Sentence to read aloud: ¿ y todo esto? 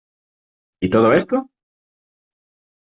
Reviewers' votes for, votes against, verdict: 2, 0, accepted